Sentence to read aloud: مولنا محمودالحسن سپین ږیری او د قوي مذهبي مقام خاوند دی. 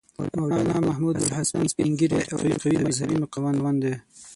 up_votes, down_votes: 3, 6